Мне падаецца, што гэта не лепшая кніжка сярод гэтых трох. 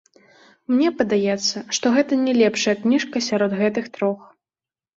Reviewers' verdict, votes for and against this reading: accepted, 2, 0